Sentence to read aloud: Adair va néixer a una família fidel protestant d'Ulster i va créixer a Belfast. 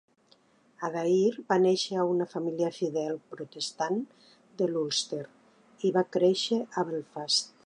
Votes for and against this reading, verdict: 0, 2, rejected